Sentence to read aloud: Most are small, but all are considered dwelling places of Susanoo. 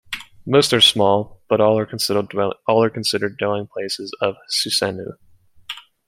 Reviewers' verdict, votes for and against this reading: rejected, 1, 2